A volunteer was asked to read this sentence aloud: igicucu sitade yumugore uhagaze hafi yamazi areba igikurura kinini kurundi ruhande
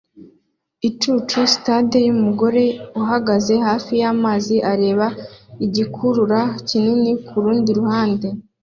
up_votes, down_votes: 0, 2